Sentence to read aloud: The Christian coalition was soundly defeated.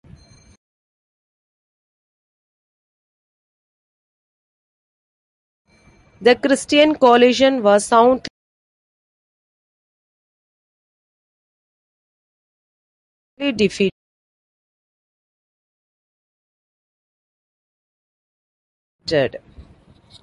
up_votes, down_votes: 0, 2